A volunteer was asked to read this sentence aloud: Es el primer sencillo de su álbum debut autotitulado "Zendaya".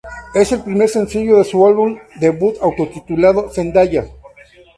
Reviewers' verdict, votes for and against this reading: accepted, 2, 0